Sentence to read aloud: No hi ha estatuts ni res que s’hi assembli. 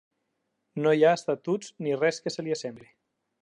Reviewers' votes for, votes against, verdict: 1, 2, rejected